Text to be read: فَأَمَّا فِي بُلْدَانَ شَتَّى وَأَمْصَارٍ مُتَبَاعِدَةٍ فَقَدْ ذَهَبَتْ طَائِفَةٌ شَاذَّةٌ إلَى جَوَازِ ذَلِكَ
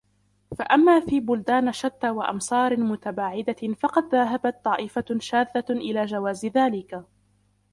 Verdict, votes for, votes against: accepted, 3, 0